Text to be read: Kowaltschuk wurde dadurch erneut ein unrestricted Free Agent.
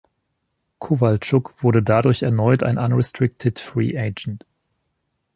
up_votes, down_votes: 2, 0